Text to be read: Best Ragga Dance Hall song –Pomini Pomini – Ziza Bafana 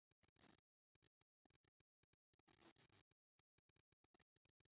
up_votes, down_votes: 0, 2